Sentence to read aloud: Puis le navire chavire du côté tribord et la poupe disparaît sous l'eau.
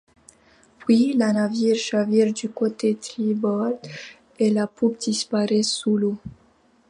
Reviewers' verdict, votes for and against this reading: accepted, 2, 1